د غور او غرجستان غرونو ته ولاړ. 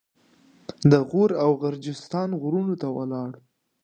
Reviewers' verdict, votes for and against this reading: accepted, 2, 0